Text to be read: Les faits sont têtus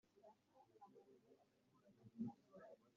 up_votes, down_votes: 0, 2